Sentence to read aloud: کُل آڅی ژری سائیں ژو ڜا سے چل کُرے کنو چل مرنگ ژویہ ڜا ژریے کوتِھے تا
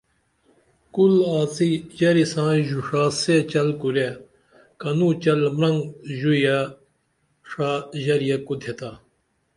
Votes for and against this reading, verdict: 2, 0, accepted